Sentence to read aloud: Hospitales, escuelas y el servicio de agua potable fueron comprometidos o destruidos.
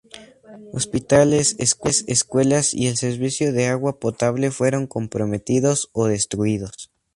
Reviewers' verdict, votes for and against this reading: rejected, 2, 2